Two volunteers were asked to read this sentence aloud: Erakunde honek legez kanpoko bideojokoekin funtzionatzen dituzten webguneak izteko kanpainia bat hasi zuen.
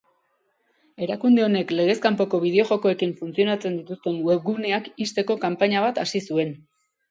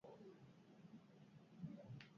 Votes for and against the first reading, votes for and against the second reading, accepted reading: 2, 0, 0, 6, first